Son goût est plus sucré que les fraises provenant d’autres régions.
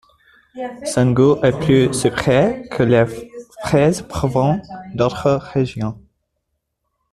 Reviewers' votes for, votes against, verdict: 2, 0, accepted